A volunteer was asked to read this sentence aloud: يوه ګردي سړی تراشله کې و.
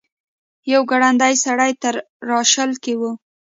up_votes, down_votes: 0, 2